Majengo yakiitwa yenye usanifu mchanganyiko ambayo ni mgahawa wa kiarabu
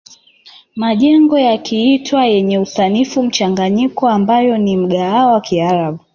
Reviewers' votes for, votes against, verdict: 2, 1, accepted